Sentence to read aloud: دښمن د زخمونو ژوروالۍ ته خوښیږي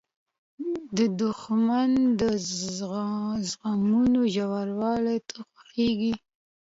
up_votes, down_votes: 2, 0